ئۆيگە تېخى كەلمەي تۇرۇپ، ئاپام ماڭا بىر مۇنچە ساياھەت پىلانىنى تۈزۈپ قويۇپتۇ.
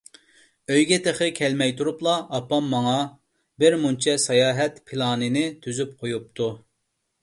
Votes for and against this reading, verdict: 1, 2, rejected